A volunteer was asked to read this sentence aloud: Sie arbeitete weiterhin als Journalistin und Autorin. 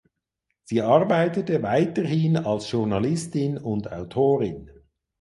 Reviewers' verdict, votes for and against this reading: accepted, 4, 0